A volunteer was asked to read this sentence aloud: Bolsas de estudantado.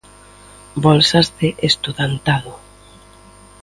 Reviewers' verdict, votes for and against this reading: accepted, 2, 0